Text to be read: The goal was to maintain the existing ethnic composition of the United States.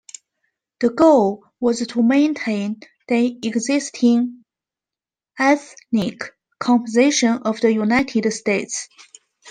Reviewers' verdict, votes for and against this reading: accepted, 2, 0